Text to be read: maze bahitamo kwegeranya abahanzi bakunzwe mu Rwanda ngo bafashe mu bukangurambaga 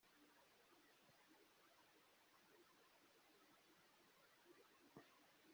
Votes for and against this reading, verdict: 0, 2, rejected